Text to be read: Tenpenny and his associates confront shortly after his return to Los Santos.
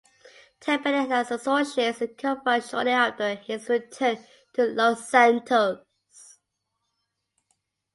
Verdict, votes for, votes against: rejected, 0, 2